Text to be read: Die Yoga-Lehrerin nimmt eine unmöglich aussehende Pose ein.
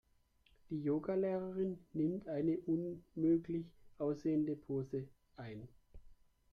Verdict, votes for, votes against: accepted, 2, 0